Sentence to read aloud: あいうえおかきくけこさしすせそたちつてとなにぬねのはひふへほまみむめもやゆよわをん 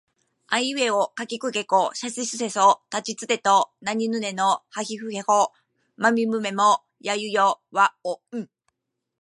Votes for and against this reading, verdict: 2, 0, accepted